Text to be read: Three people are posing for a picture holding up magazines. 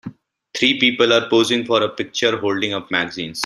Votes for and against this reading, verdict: 1, 2, rejected